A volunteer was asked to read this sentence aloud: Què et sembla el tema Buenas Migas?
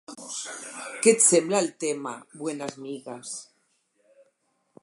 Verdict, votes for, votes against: rejected, 0, 4